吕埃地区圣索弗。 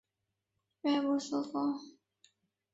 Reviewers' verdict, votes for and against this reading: rejected, 1, 2